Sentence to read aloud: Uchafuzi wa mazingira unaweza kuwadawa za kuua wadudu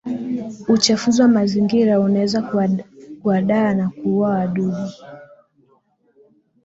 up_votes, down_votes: 1, 2